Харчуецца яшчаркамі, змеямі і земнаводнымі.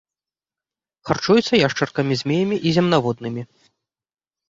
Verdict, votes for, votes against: accepted, 2, 0